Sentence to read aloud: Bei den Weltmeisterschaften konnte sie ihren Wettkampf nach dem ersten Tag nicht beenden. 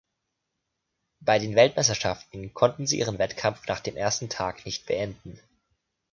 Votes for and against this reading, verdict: 1, 2, rejected